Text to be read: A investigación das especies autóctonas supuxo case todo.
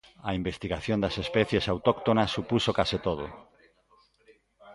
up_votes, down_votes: 2, 0